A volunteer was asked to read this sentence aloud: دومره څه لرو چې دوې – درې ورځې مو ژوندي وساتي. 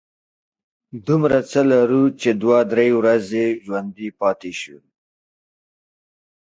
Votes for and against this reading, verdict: 1, 2, rejected